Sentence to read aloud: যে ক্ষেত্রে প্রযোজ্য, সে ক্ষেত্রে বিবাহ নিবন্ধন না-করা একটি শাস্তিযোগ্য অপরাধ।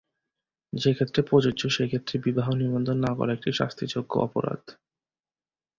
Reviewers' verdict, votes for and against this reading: accepted, 2, 0